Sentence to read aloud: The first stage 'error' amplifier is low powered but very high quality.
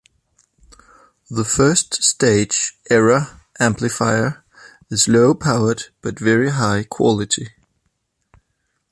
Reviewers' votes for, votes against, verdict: 2, 0, accepted